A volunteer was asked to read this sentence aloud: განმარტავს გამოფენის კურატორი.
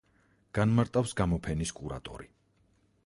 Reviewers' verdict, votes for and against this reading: rejected, 2, 4